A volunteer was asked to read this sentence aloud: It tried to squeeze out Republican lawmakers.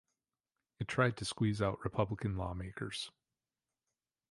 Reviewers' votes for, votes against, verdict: 2, 0, accepted